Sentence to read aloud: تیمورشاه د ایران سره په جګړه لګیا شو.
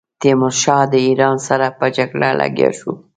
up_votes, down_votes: 3, 1